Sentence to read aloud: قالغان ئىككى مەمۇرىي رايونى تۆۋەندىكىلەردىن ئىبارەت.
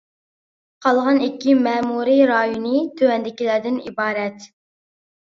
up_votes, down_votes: 2, 0